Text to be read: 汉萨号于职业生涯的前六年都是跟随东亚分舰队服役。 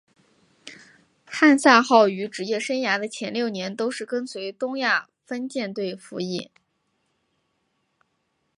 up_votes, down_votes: 2, 0